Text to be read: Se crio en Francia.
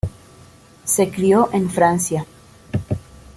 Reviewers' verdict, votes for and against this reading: accepted, 2, 0